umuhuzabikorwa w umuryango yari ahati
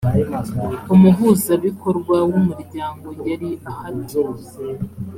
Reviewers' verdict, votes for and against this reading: accepted, 2, 0